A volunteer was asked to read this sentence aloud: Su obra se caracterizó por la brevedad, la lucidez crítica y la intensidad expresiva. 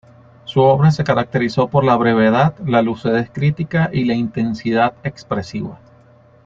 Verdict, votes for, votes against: rejected, 1, 2